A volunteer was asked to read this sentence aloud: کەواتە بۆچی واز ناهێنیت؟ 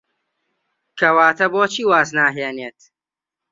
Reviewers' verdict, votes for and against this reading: rejected, 1, 2